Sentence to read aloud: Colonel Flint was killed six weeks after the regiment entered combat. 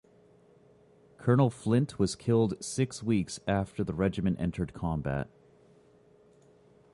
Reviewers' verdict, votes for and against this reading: accepted, 2, 0